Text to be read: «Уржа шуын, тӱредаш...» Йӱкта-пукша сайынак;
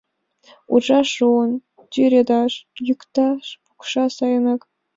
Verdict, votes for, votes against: rejected, 1, 2